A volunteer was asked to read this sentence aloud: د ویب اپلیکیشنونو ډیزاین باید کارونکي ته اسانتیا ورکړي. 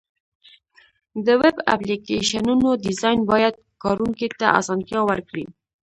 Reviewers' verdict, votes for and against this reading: rejected, 1, 2